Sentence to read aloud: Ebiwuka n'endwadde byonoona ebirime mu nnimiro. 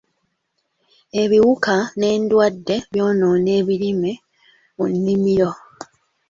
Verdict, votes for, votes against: accepted, 2, 0